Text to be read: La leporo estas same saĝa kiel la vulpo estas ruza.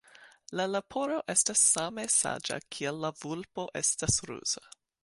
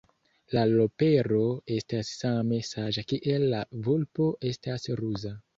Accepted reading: first